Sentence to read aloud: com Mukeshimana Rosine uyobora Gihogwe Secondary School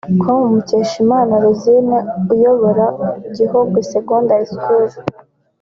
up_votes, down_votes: 2, 1